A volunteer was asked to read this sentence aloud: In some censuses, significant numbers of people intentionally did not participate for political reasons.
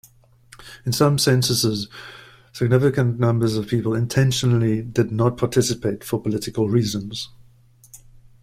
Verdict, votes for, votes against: accepted, 2, 0